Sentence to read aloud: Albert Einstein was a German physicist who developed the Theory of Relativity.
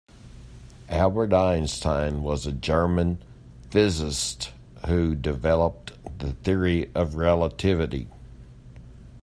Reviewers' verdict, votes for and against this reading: rejected, 0, 2